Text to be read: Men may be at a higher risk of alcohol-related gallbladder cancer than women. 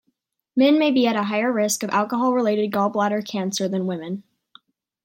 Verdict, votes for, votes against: accepted, 2, 0